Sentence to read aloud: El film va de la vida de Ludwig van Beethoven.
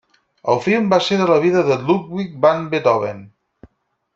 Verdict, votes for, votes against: rejected, 0, 4